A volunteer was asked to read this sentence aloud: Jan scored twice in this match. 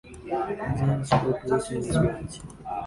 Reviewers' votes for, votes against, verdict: 1, 2, rejected